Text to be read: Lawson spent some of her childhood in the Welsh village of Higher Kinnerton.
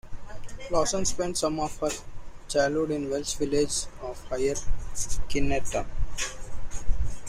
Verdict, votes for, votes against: rejected, 1, 2